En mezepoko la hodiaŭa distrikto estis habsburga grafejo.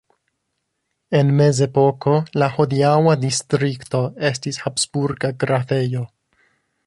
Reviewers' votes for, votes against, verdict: 1, 2, rejected